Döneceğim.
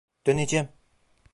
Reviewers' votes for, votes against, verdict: 0, 2, rejected